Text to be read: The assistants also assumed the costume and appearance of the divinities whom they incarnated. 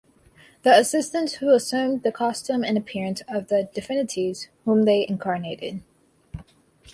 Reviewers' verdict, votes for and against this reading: rejected, 0, 2